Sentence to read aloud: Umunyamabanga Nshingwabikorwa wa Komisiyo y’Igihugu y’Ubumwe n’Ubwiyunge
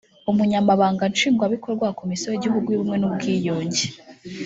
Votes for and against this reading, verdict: 0, 2, rejected